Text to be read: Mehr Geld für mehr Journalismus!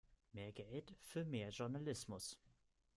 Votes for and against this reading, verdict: 1, 2, rejected